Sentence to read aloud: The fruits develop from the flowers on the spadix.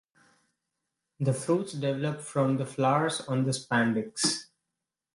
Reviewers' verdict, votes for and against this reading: accepted, 2, 0